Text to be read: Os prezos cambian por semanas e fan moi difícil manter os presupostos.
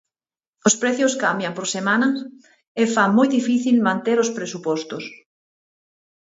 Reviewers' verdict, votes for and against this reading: rejected, 0, 6